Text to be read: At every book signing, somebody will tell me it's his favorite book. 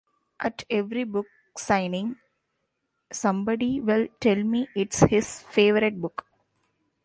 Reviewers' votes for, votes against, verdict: 2, 0, accepted